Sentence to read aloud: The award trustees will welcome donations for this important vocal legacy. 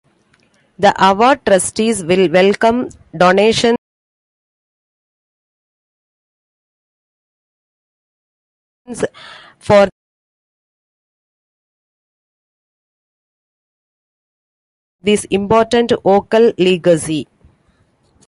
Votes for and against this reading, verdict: 0, 2, rejected